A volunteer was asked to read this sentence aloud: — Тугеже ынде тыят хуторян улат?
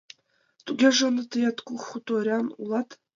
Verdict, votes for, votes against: rejected, 0, 2